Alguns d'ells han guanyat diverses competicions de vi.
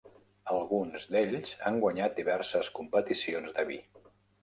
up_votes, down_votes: 3, 0